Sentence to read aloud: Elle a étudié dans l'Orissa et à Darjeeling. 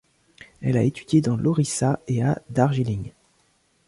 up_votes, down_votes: 1, 2